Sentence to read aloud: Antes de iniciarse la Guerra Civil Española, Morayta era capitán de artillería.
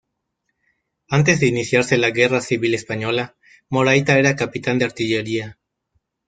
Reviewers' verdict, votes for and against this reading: rejected, 1, 2